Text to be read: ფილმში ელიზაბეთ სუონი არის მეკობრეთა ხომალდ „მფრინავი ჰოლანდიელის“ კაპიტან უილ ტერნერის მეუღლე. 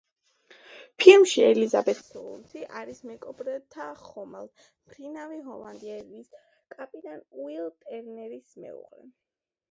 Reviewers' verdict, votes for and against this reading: rejected, 1, 2